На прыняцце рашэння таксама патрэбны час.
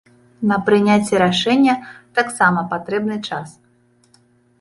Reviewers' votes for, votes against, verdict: 2, 0, accepted